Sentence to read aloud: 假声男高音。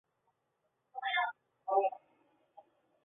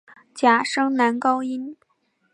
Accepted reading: second